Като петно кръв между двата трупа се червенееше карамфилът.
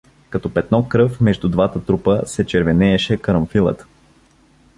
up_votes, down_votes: 2, 0